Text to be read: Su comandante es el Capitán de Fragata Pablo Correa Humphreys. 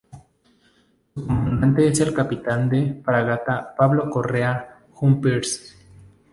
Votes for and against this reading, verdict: 2, 2, rejected